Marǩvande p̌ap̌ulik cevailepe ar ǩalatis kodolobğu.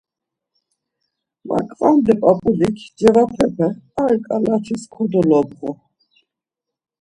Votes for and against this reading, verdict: 1, 2, rejected